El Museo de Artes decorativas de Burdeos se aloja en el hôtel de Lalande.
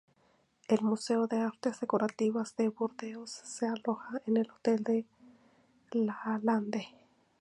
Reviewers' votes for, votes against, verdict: 0, 2, rejected